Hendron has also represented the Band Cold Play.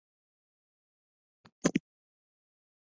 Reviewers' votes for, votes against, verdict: 0, 2, rejected